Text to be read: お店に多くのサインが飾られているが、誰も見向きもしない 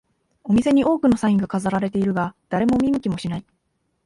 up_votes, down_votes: 1, 2